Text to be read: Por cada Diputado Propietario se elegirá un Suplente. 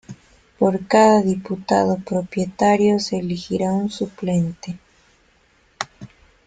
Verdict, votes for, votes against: accepted, 2, 0